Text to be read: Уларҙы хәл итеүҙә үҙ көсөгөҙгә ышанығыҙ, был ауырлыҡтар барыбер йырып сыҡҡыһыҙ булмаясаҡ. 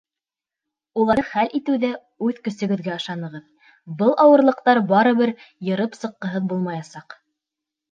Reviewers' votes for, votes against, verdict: 1, 2, rejected